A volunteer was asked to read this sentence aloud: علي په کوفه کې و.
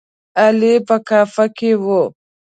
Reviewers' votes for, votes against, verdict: 1, 2, rejected